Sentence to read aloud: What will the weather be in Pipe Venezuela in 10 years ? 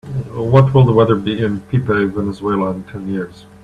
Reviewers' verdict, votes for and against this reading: rejected, 0, 2